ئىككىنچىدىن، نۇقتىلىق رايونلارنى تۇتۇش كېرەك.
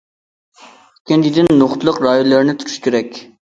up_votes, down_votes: 1, 2